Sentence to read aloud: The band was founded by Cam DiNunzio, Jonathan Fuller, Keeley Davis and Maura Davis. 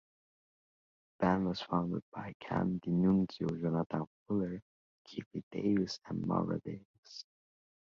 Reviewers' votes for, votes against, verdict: 0, 2, rejected